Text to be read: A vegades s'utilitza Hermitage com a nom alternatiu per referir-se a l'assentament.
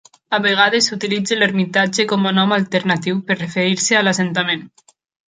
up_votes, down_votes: 1, 2